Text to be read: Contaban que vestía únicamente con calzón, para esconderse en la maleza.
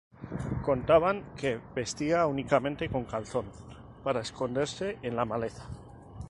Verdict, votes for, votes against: accepted, 2, 0